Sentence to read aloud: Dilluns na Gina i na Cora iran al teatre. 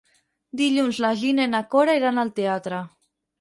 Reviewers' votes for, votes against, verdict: 2, 4, rejected